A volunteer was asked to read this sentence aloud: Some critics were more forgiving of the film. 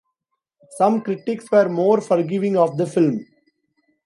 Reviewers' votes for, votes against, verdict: 2, 0, accepted